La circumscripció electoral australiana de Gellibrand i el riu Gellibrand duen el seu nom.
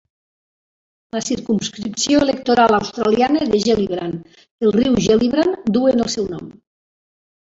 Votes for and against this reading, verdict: 0, 2, rejected